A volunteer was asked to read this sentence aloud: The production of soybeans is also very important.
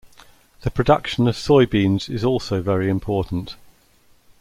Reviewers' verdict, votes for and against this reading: accepted, 2, 0